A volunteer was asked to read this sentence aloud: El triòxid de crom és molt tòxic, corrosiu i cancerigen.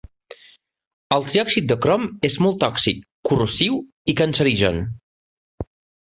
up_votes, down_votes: 2, 0